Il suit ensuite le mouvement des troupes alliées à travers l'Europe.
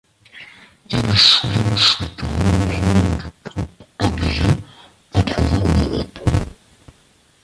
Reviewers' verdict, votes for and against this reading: rejected, 0, 2